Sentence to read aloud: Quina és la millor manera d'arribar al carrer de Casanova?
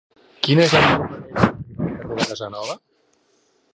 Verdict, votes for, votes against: rejected, 0, 2